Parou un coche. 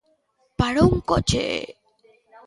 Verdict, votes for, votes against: accepted, 2, 1